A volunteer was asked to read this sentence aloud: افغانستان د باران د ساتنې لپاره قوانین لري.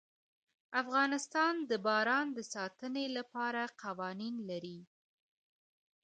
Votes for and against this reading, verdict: 0, 2, rejected